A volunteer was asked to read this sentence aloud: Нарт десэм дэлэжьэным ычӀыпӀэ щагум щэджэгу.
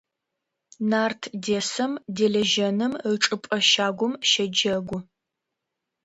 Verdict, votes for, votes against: accepted, 2, 0